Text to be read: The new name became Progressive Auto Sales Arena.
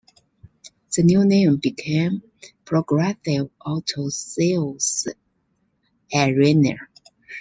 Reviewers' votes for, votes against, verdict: 0, 2, rejected